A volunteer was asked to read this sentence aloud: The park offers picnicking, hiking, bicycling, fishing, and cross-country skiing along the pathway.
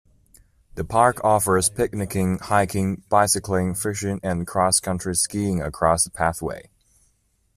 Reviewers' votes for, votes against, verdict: 2, 1, accepted